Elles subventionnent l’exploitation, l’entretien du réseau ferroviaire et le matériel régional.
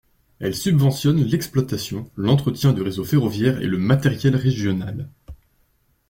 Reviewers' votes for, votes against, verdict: 2, 0, accepted